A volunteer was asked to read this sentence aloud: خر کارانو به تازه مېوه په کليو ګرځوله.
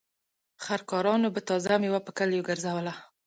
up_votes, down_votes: 2, 0